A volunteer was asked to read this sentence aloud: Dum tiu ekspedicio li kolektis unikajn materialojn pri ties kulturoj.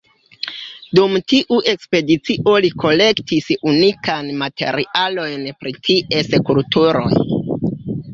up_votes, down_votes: 1, 2